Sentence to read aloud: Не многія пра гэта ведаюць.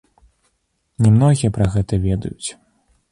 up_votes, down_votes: 2, 0